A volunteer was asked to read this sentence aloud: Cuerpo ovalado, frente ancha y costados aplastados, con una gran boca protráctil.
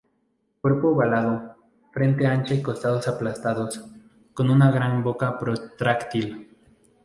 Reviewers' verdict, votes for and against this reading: accepted, 2, 0